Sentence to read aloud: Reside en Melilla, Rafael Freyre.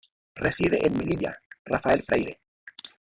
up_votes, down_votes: 1, 2